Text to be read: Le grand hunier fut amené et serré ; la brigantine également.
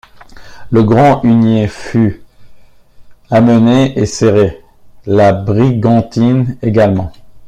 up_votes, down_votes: 1, 2